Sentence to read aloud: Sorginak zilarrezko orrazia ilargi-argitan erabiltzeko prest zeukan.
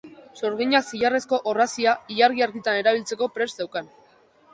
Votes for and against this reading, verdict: 3, 0, accepted